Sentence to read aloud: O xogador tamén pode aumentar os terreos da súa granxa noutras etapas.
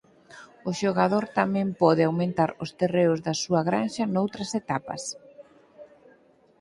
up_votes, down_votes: 6, 0